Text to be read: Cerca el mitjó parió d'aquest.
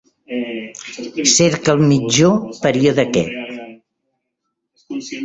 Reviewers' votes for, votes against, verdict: 0, 2, rejected